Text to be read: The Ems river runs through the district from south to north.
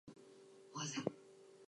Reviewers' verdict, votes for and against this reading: rejected, 0, 4